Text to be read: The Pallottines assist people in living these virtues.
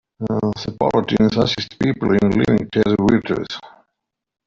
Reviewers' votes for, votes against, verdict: 0, 2, rejected